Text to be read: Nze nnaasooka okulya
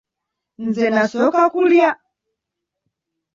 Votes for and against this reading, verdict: 0, 2, rejected